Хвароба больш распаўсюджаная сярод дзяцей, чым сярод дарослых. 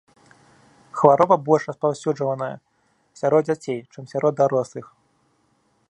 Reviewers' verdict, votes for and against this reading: rejected, 0, 2